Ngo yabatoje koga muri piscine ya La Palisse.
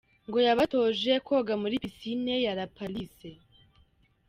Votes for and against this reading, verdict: 2, 0, accepted